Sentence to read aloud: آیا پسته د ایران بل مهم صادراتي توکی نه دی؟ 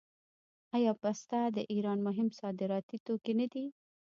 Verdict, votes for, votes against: rejected, 1, 2